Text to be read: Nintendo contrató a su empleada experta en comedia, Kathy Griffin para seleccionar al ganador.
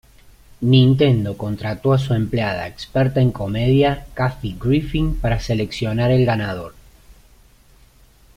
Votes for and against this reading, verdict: 1, 2, rejected